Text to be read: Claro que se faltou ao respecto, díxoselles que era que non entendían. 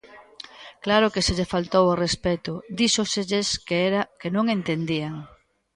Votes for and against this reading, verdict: 0, 2, rejected